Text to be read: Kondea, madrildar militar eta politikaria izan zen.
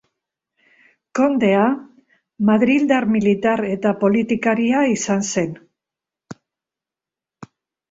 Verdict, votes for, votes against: accepted, 3, 0